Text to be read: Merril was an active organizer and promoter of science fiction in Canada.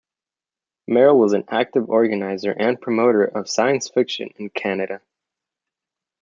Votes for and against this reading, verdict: 2, 0, accepted